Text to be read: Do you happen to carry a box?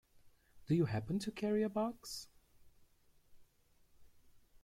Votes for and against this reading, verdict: 2, 1, accepted